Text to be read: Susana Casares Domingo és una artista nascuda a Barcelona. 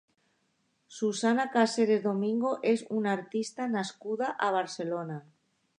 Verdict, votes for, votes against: rejected, 1, 2